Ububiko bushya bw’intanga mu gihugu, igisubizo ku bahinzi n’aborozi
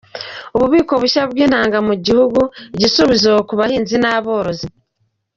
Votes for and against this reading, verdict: 2, 0, accepted